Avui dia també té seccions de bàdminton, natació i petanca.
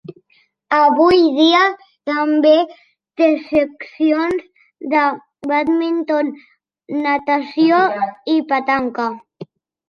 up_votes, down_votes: 2, 1